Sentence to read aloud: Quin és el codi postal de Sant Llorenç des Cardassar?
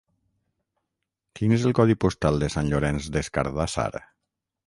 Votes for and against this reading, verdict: 6, 0, accepted